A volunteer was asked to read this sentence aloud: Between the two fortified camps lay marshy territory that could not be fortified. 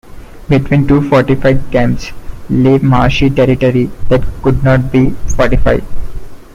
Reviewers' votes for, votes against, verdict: 0, 2, rejected